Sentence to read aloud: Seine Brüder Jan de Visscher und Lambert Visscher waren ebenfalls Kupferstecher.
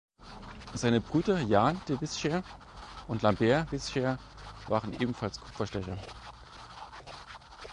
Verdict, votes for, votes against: accepted, 2, 0